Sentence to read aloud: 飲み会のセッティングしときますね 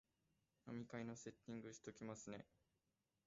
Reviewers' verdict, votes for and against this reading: rejected, 0, 2